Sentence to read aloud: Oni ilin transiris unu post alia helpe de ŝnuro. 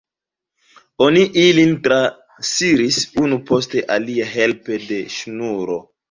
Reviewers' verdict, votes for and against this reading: rejected, 0, 2